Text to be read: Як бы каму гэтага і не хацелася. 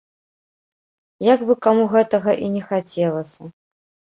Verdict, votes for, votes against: accepted, 2, 0